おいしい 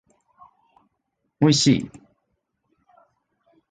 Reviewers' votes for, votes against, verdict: 2, 0, accepted